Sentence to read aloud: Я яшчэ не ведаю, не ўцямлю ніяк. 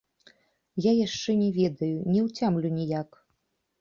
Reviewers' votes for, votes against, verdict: 2, 0, accepted